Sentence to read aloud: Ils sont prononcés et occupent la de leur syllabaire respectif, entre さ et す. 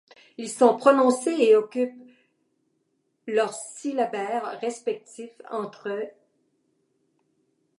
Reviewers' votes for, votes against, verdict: 0, 2, rejected